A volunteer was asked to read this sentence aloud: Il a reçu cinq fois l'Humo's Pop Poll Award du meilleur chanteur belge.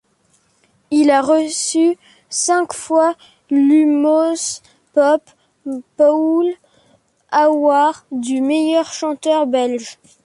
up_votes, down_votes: 1, 2